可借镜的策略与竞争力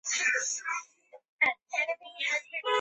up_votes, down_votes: 0, 2